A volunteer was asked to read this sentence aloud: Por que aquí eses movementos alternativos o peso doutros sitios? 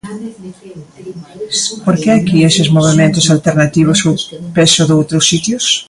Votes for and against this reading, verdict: 0, 2, rejected